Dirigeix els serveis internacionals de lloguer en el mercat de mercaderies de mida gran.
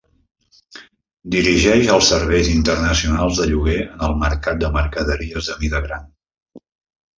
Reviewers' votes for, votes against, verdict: 0, 2, rejected